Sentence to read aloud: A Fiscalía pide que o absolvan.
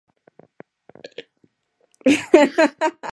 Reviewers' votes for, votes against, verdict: 0, 4, rejected